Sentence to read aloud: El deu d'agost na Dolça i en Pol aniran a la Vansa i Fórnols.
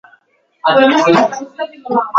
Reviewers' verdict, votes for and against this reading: rejected, 0, 2